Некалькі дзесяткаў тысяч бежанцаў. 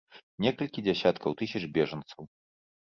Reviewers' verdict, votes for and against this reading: accepted, 2, 1